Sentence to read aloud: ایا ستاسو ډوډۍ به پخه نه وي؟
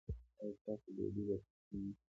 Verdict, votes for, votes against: accepted, 2, 0